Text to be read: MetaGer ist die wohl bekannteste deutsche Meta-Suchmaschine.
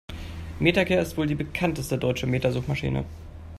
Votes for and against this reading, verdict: 1, 2, rejected